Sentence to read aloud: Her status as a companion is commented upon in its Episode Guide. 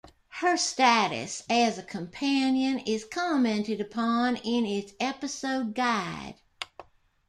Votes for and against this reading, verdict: 0, 2, rejected